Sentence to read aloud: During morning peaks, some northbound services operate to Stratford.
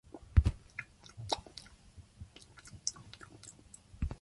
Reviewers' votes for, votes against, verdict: 0, 2, rejected